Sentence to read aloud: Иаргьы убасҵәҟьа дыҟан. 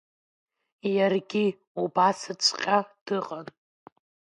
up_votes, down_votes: 2, 1